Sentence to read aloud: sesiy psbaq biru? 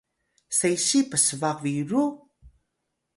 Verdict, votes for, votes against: accepted, 2, 0